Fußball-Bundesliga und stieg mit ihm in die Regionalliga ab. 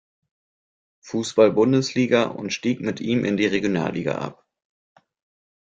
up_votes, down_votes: 1, 2